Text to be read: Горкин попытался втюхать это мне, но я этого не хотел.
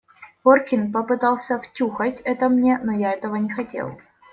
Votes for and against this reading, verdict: 2, 0, accepted